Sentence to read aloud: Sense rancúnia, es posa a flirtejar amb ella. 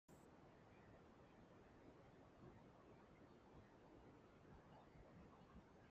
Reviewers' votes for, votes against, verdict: 0, 2, rejected